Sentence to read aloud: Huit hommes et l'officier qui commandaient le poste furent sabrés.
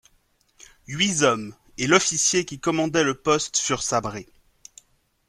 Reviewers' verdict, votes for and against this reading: rejected, 0, 2